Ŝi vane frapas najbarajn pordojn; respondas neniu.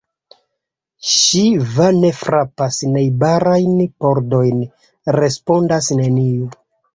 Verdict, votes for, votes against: rejected, 1, 2